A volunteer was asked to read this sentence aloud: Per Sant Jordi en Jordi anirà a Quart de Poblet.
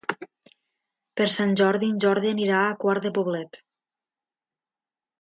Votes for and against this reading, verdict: 2, 0, accepted